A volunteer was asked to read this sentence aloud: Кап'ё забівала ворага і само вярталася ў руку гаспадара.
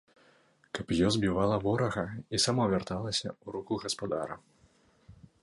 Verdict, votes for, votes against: rejected, 1, 2